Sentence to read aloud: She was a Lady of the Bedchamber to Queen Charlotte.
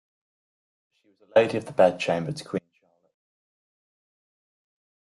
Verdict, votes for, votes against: rejected, 0, 2